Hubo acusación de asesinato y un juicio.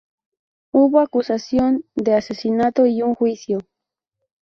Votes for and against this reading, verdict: 2, 2, rejected